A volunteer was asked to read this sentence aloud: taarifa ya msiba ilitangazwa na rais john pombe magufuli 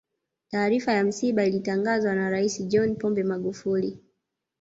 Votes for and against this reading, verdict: 0, 2, rejected